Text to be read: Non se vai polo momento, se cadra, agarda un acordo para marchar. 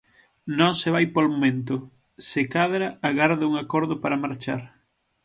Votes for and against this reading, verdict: 6, 0, accepted